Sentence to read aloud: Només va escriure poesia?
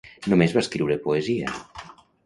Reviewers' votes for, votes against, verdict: 1, 2, rejected